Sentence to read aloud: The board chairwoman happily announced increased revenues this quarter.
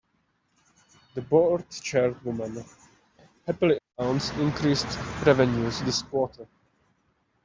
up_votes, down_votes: 0, 2